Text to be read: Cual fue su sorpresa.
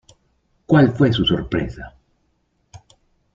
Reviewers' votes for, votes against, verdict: 2, 0, accepted